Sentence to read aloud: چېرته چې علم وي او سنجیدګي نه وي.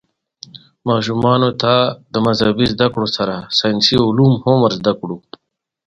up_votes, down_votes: 1, 2